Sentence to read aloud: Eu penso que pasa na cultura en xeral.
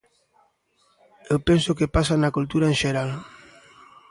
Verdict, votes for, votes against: accepted, 2, 0